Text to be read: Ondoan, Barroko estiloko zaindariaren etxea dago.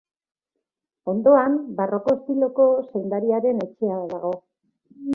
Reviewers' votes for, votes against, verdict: 2, 0, accepted